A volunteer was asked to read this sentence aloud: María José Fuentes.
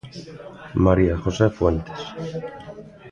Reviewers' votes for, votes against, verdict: 1, 2, rejected